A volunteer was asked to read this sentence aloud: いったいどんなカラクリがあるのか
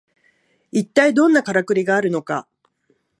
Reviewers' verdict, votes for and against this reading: accepted, 2, 0